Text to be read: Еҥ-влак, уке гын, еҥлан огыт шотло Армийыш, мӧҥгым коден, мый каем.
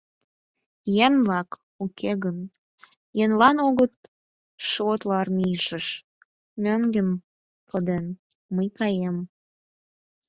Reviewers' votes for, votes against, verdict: 0, 4, rejected